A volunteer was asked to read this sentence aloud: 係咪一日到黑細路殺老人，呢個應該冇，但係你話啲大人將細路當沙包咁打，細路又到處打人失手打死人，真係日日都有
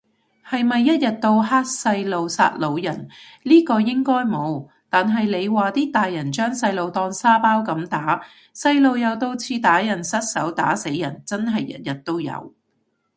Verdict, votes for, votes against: accepted, 2, 0